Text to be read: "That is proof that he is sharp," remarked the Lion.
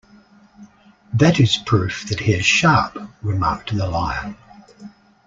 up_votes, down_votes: 2, 0